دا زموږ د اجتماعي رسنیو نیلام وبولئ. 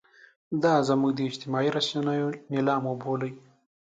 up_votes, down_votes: 2, 0